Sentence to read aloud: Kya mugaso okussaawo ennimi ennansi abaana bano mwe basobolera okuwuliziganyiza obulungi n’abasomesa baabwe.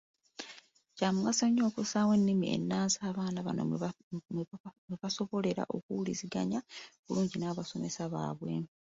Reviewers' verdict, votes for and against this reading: rejected, 0, 2